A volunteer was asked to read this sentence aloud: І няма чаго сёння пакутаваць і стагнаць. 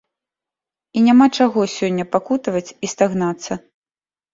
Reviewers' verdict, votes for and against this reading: accepted, 2, 1